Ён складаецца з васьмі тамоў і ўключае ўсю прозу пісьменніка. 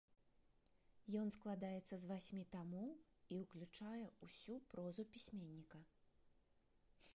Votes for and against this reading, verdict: 1, 2, rejected